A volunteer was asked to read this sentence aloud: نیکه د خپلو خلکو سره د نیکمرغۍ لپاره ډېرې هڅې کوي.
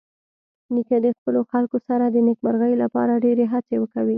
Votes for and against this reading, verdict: 1, 2, rejected